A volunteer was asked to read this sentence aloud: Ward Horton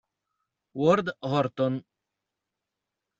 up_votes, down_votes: 2, 0